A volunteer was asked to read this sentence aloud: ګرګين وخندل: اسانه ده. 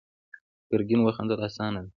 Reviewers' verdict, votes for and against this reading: rejected, 0, 2